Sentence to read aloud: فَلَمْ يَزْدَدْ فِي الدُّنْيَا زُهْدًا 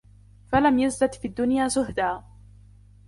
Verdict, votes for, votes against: accepted, 2, 1